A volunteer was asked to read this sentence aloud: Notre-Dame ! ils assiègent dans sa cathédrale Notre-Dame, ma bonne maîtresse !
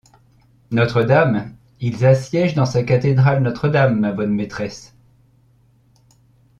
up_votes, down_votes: 2, 0